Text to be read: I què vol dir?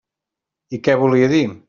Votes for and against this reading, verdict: 0, 2, rejected